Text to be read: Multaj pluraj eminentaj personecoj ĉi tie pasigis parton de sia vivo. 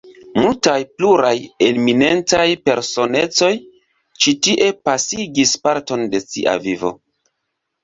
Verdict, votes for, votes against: accepted, 2, 0